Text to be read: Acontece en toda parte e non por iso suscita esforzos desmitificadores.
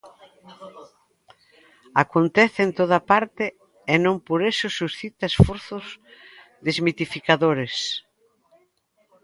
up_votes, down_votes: 1, 2